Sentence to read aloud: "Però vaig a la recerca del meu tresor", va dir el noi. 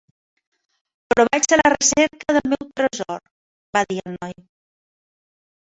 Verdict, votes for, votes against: rejected, 0, 3